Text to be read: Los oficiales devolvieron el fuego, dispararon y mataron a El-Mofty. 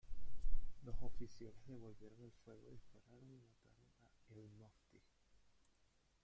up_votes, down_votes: 0, 2